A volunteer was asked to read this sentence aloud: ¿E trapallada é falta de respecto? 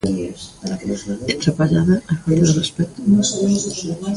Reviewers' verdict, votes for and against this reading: rejected, 0, 2